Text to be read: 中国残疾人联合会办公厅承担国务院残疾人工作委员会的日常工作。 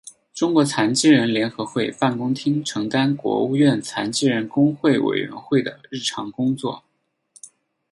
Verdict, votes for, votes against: accepted, 8, 0